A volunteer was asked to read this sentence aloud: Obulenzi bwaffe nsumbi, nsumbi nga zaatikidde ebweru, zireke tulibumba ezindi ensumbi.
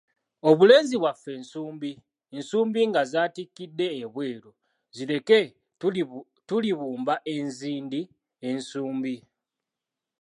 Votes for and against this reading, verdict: 2, 3, rejected